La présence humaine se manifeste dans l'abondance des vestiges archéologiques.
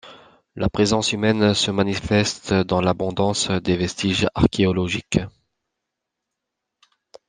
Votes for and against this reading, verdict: 2, 0, accepted